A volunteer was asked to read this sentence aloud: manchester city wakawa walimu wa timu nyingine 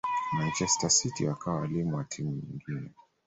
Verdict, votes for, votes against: rejected, 0, 2